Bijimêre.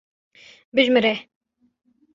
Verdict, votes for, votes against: rejected, 1, 2